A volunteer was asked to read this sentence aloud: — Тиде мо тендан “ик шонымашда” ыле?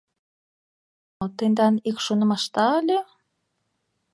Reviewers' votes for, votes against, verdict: 0, 2, rejected